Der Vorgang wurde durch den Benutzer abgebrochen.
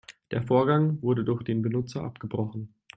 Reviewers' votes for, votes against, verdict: 2, 0, accepted